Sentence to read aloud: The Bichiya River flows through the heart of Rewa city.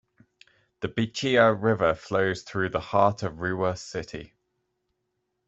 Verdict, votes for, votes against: accepted, 2, 0